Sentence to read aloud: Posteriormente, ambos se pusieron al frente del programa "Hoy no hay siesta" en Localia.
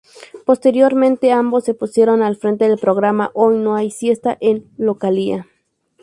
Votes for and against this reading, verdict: 2, 0, accepted